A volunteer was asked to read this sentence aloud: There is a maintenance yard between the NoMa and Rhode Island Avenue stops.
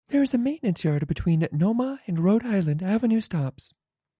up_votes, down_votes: 1, 2